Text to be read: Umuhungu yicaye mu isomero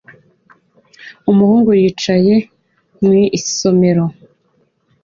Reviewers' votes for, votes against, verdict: 2, 0, accepted